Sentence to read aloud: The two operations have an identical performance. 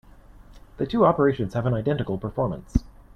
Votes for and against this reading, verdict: 2, 0, accepted